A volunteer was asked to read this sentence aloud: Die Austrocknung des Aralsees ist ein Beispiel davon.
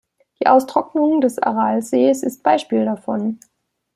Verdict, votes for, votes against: rejected, 0, 2